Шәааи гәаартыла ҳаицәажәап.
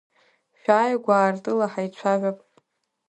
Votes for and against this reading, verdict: 3, 0, accepted